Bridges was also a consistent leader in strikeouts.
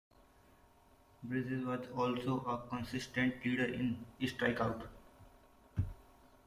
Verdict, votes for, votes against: rejected, 0, 2